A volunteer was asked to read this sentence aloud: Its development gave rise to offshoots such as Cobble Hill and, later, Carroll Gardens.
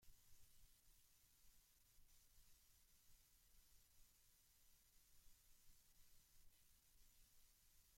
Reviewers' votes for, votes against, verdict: 0, 2, rejected